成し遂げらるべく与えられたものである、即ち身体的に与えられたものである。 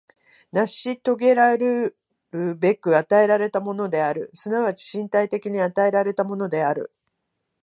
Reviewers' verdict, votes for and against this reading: rejected, 0, 2